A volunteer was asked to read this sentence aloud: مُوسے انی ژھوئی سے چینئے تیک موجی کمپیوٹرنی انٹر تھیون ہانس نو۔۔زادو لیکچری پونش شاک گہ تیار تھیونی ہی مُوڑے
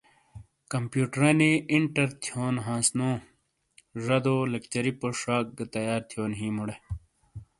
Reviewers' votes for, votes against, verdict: 1, 2, rejected